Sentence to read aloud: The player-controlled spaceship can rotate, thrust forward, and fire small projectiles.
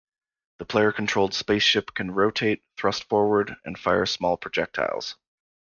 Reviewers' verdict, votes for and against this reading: accepted, 2, 1